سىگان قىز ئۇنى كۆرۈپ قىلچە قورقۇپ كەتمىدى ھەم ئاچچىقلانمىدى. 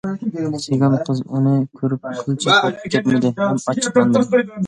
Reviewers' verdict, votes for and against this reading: rejected, 0, 2